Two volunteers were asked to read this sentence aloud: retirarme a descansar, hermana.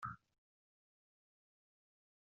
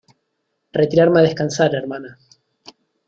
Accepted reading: second